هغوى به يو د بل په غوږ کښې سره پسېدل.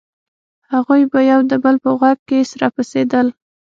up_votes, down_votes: 6, 0